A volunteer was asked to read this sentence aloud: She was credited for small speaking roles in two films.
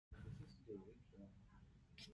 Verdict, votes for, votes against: rejected, 0, 2